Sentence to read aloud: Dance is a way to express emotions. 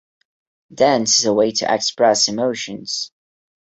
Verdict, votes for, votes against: accepted, 2, 0